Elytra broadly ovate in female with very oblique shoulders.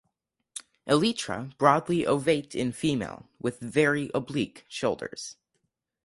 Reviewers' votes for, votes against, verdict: 2, 2, rejected